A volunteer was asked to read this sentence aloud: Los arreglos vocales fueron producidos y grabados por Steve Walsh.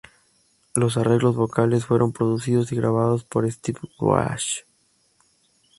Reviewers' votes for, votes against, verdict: 4, 2, accepted